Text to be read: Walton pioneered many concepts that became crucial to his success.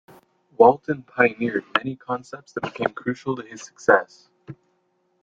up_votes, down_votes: 2, 0